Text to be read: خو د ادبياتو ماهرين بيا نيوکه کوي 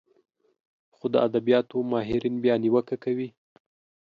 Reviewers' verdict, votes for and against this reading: accepted, 3, 0